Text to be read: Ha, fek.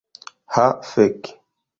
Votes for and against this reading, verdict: 0, 2, rejected